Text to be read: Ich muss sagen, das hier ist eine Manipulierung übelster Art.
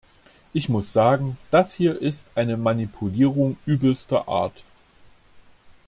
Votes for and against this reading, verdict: 2, 0, accepted